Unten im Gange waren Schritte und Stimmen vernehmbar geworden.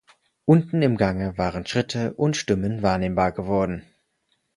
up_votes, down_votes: 2, 4